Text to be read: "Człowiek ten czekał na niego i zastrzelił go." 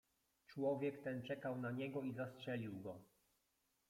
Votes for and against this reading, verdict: 2, 1, accepted